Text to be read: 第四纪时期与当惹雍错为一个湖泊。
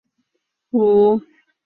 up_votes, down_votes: 0, 3